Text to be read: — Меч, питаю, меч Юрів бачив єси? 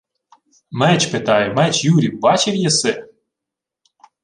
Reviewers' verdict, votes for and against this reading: accepted, 2, 0